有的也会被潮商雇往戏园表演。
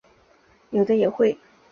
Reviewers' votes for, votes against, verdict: 3, 5, rejected